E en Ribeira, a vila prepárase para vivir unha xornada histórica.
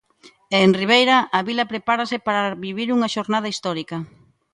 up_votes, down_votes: 2, 0